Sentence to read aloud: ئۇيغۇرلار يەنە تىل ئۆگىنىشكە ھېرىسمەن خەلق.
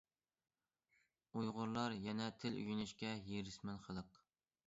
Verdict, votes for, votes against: accepted, 2, 0